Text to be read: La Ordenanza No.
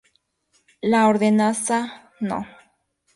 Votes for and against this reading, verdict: 2, 2, rejected